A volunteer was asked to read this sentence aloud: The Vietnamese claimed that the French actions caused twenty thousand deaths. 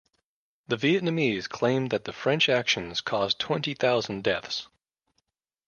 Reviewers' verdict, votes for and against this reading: accepted, 2, 0